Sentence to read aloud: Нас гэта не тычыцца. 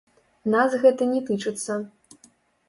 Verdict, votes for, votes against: rejected, 0, 2